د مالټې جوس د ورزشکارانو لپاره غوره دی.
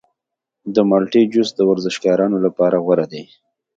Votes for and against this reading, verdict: 2, 0, accepted